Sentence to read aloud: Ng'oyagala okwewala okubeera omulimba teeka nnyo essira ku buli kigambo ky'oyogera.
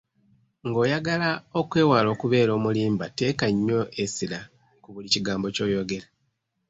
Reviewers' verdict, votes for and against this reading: accepted, 3, 0